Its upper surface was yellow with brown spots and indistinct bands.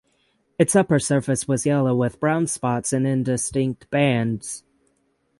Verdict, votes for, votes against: accepted, 6, 3